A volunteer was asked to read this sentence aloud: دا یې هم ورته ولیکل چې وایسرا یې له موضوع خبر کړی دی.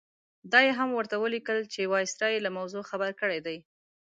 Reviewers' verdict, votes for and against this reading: accepted, 2, 0